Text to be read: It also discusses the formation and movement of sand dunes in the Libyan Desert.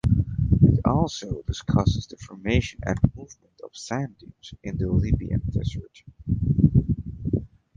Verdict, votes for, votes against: rejected, 0, 2